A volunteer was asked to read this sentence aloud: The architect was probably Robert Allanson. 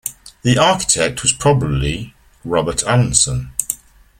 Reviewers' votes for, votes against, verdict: 2, 0, accepted